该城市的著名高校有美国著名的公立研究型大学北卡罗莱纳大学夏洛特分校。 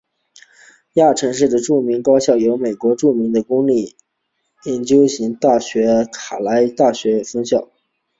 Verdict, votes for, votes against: rejected, 1, 3